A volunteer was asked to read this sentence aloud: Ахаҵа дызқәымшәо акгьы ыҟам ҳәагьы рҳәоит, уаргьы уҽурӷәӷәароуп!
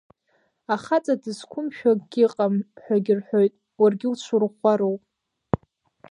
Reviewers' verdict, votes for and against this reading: accepted, 2, 0